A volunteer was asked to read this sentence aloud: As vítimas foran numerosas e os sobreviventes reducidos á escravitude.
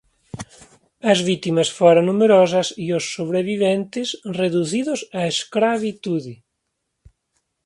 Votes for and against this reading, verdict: 2, 1, accepted